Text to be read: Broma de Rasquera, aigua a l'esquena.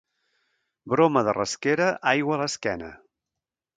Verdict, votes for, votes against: accepted, 2, 1